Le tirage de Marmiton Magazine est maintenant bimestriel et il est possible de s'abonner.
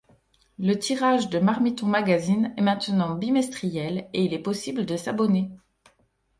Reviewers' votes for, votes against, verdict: 2, 0, accepted